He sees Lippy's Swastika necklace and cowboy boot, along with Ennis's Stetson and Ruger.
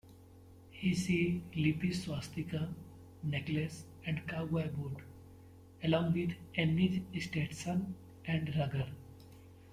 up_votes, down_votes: 0, 2